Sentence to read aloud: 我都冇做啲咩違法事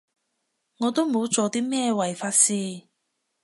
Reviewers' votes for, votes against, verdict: 5, 0, accepted